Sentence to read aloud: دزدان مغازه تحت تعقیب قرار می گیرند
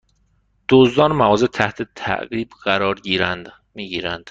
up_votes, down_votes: 1, 2